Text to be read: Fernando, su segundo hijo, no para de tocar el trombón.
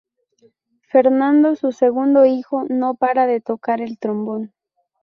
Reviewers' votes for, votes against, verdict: 0, 2, rejected